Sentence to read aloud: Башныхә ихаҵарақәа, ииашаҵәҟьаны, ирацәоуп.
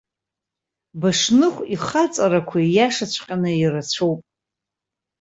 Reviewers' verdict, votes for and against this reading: accepted, 2, 0